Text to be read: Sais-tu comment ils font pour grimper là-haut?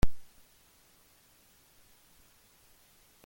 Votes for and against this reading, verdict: 0, 2, rejected